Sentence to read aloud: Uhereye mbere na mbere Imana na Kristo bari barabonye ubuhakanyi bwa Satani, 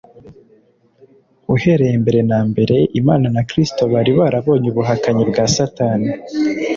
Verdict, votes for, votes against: accepted, 2, 0